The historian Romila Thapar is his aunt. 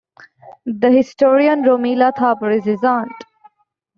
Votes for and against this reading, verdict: 2, 0, accepted